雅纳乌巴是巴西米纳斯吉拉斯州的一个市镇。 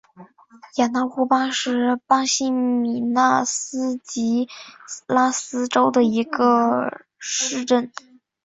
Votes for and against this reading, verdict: 2, 0, accepted